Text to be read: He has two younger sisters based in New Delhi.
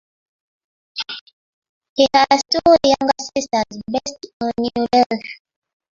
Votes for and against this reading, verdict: 1, 2, rejected